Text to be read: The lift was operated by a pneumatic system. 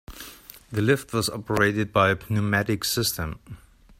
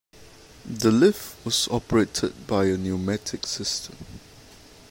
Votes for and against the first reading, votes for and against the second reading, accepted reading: 1, 2, 2, 0, second